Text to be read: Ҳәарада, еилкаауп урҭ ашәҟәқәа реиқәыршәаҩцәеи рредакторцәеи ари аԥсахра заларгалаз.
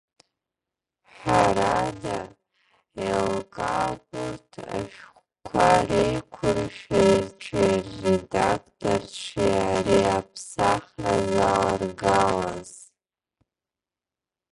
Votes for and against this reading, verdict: 0, 2, rejected